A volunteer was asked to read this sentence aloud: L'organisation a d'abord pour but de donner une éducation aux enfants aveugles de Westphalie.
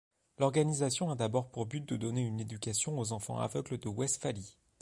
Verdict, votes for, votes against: accepted, 2, 0